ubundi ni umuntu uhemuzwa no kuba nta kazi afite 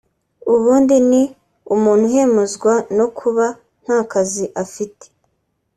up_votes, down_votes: 2, 0